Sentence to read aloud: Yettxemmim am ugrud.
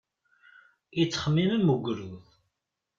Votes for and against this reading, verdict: 2, 0, accepted